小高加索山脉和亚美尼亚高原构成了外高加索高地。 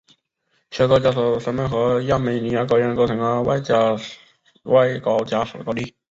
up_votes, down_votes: 0, 2